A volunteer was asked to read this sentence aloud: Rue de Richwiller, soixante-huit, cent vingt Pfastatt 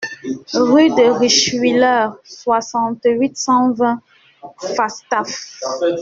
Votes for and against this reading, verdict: 2, 0, accepted